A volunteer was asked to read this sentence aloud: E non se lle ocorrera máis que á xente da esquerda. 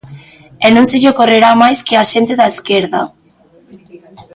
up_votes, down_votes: 0, 2